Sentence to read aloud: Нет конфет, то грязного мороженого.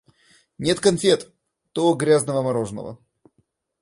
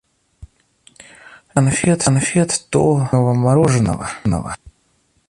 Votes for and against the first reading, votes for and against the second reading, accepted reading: 2, 0, 0, 2, first